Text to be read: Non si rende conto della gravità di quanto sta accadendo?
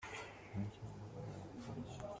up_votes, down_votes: 0, 2